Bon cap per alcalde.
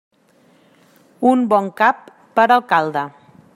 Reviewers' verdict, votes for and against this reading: rejected, 0, 2